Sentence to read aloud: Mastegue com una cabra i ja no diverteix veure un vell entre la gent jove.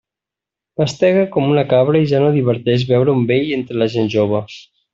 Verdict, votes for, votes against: accepted, 2, 0